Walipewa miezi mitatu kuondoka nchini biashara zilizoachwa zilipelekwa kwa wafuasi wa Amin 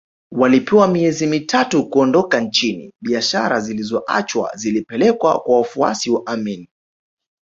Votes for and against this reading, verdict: 2, 1, accepted